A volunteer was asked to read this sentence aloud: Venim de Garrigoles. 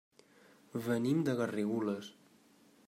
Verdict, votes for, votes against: accepted, 3, 0